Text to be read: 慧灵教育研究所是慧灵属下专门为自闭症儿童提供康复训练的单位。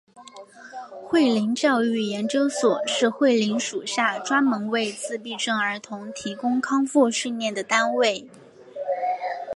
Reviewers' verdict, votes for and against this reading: accepted, 2, 0